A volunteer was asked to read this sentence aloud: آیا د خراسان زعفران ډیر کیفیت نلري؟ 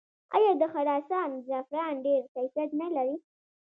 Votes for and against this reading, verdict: 0, 2, rejected